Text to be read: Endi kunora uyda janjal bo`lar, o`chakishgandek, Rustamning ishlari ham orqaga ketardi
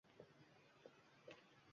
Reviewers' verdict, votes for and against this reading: rejected, 1, 2